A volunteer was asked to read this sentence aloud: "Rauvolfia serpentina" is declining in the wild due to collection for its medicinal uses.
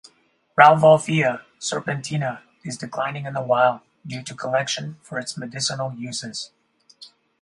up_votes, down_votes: 2, 0